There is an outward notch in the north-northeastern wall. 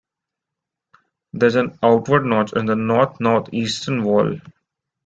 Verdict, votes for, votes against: accepted, 2, 0